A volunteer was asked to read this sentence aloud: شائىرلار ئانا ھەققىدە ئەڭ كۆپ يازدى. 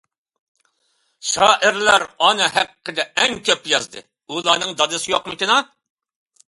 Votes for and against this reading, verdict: 0, 2, rejected